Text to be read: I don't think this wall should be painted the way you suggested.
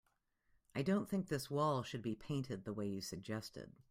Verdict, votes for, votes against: accepted, 2, 0